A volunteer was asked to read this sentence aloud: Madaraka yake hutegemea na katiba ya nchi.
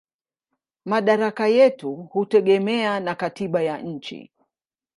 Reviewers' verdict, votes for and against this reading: rejected, 0, 2